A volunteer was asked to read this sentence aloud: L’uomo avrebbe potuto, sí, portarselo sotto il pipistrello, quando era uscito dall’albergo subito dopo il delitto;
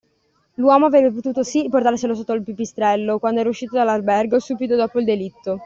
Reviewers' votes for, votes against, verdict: 2, 0, accepted